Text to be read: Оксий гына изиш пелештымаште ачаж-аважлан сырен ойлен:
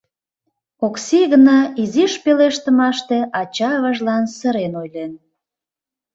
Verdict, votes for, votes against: rejected, 1, 2